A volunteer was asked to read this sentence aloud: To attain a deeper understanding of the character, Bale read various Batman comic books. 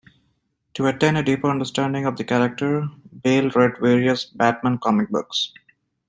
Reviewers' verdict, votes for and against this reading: accepted, 2, 0